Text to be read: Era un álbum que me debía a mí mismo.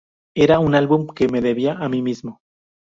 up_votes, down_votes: 0, 2